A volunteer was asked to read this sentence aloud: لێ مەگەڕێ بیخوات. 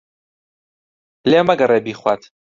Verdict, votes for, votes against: accepted, 2, 0